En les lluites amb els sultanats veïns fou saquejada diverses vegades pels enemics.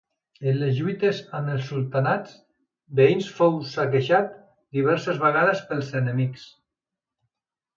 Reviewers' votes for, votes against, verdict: 0, 2, rejected